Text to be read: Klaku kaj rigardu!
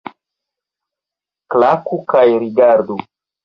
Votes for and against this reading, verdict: 2, 0, accepted